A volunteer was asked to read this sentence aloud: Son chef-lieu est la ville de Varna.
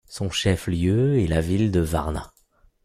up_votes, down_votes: 2, 0